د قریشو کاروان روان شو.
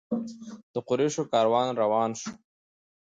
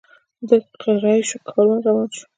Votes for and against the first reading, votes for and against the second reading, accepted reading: 2, 0, 0, 2, first